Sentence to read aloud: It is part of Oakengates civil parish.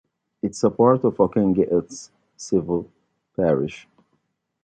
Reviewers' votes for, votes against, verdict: 1, 2, rejected